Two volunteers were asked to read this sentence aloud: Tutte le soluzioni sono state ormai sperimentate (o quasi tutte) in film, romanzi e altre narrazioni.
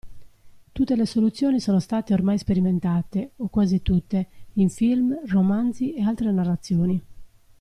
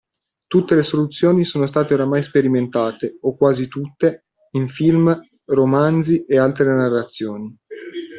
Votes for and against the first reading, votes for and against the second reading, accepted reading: 2, 0, 1, 2, first